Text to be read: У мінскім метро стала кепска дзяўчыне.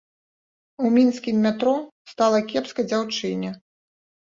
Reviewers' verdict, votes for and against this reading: rejected, 1, 2